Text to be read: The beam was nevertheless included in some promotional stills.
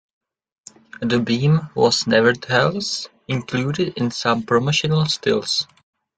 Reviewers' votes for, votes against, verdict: 0, 2, rejected